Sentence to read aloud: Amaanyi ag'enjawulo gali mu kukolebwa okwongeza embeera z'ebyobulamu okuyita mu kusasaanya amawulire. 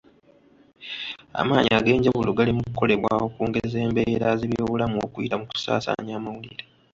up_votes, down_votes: 1, 2